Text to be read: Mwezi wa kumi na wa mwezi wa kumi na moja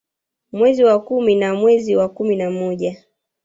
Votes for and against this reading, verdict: 2, 0, accepted